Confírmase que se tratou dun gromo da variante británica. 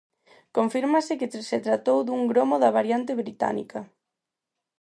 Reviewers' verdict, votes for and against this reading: rejected, 0, 4